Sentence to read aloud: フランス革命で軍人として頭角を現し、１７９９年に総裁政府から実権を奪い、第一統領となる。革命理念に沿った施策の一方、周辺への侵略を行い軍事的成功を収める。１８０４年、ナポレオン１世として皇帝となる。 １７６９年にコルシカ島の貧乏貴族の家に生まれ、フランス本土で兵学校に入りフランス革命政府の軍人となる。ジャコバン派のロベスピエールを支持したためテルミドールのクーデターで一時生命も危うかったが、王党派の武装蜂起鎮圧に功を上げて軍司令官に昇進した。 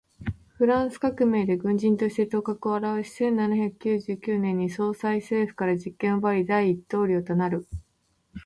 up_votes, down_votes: 0, 2